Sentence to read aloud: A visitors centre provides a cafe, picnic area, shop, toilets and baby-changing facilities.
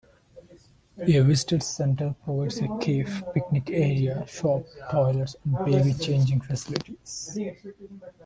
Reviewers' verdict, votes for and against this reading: rejected, 0, 2